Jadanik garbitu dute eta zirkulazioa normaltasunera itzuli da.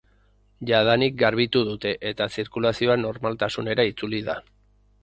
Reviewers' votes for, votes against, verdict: 4, 0, accepted